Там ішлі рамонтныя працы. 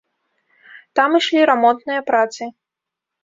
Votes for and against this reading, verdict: 2, 0, accepted